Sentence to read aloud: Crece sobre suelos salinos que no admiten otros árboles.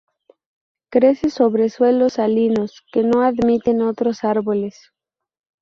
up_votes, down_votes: 2, 0